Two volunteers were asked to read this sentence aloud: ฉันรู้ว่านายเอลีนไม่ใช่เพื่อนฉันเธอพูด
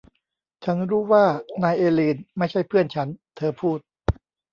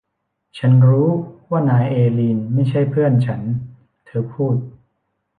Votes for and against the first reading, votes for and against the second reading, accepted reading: 0, 2, 2, 0, second